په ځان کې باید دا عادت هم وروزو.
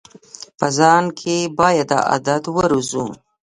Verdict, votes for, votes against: rejected, 0, 2